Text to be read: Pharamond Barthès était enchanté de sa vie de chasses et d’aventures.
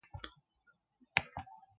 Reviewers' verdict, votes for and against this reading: rejected, 1, 2